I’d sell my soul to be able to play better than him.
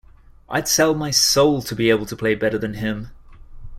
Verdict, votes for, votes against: accepted, 2, 0